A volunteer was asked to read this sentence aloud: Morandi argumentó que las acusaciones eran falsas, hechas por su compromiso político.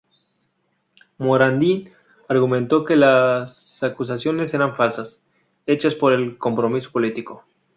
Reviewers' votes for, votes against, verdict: 0, 4, rejected